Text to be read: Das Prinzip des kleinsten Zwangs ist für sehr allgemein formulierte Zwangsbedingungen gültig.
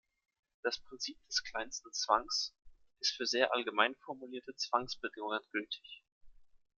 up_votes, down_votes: 2, 0